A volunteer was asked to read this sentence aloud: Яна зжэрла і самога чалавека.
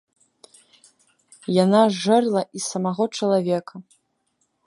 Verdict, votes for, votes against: rejected, 0, 2